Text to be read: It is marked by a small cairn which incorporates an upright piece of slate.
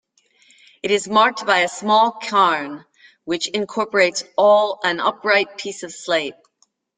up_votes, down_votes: 1, 2